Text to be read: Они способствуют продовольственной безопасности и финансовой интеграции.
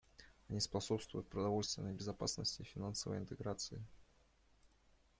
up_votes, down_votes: 1, 2